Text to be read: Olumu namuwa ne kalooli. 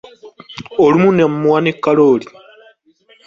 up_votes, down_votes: 1, 2